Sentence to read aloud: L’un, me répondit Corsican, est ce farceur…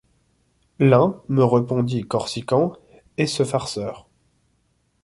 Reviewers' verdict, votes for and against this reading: rejected, 1, 2